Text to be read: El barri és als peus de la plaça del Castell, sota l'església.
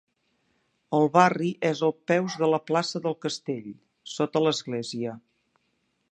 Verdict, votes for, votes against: rejected, 2, 3